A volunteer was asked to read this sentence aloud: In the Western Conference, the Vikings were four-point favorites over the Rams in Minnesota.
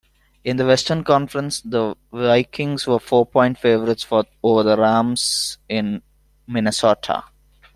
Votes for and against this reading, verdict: 0, 2, rejected